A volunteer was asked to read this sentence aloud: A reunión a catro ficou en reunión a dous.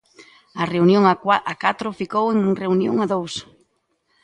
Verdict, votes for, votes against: rejected, 0, 2